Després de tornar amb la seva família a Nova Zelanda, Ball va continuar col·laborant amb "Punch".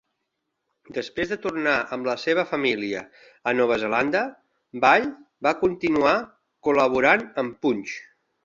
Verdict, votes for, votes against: accepted, 3, 1